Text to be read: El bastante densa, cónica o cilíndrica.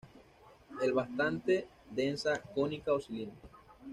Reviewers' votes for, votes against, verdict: 2, 0, accepted